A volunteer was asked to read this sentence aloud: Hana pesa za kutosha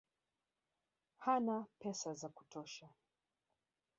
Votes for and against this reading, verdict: 2, 1, accepted